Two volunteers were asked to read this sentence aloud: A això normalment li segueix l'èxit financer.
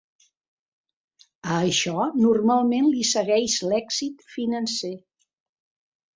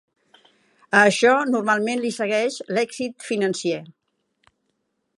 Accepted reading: first